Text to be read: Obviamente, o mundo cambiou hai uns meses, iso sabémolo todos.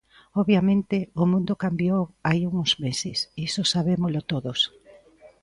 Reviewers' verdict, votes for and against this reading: accepted, 2, 1